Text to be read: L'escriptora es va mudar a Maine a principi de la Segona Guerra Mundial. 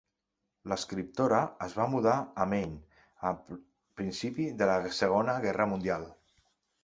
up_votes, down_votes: 2, 1